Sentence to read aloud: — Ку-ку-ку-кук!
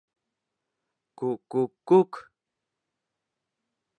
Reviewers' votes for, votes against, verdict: 0, 2, rejected